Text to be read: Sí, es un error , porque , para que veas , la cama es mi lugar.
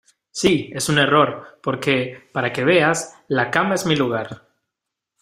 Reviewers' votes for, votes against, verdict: 2, 0, accepted